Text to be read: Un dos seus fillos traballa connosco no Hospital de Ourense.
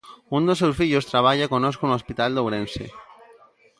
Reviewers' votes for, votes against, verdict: 1, 2, rejected